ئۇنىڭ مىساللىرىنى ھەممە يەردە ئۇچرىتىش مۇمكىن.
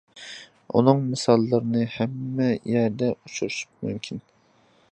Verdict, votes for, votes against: rejected, 1, 2